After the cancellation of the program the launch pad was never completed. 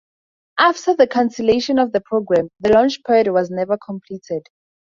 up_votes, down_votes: 2, 0